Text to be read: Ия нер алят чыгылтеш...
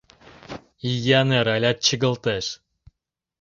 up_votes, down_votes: 2, 0